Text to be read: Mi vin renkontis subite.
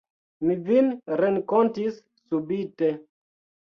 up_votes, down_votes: 1, 2